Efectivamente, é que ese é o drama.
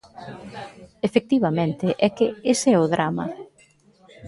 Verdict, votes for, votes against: accepted, 2, 0